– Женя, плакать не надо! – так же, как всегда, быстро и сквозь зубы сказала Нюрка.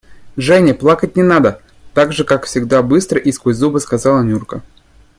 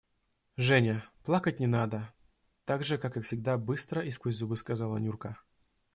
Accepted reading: first